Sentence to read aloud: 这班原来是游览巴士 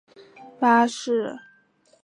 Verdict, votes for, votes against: rejected, 0, 2